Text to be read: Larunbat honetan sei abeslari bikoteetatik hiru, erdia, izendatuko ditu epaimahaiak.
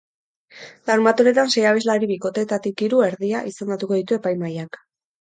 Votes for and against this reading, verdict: 8, 2, accepted